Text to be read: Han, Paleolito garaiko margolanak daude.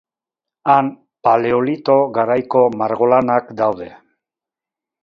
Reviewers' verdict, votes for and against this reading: accepted, 4, 0